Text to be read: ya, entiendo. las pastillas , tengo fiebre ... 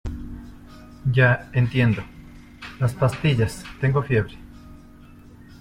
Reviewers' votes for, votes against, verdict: 2, 0, accepted